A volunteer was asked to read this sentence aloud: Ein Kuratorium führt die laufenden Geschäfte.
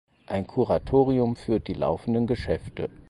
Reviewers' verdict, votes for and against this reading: accepted, 4, 0